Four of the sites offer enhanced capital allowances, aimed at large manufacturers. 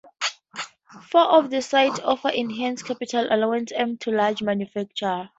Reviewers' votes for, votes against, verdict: 0, 2, rejected